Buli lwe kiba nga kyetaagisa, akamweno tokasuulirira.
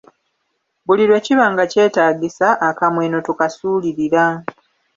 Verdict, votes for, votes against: accepted, 2, 0